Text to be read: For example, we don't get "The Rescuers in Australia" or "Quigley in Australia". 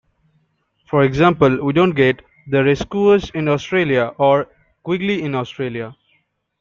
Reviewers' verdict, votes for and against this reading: rejected, 0, 2